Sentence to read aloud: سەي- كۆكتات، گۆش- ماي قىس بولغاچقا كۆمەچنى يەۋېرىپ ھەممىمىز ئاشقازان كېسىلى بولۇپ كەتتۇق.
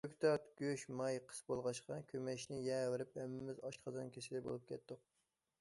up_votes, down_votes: 1, 2